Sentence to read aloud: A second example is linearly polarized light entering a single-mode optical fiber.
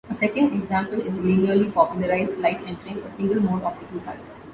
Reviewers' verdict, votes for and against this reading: rejected, 1, 2